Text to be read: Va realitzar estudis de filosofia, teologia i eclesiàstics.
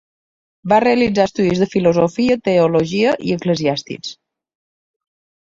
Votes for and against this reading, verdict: 2, 0, accepted